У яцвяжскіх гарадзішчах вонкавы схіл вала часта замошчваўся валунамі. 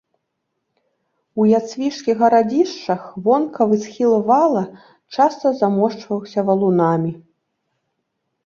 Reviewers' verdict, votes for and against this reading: rejected, 0, 2